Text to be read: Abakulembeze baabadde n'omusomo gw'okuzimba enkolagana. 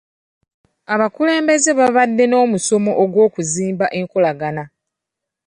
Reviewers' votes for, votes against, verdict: 2, 1, accepted